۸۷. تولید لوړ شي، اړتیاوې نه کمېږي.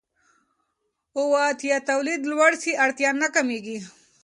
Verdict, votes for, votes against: rejected, 0, 2